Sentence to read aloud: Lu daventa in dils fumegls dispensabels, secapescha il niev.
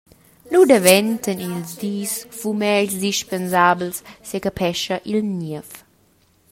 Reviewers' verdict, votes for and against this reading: rejected, 1, 2